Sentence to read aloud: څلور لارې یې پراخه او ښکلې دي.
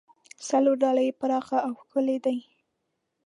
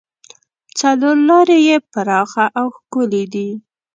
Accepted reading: second